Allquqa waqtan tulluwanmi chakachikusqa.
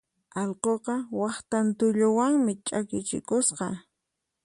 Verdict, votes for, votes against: rejected, 0, 4